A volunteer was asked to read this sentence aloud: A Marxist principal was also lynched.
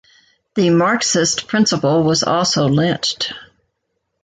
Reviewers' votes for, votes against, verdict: 1, 2, rejected